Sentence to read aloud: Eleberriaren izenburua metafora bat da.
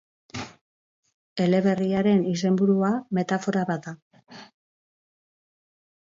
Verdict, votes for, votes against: accepted, 2, 0